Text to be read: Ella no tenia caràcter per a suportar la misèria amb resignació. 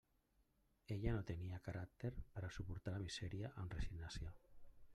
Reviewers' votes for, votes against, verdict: 0, 2, rejected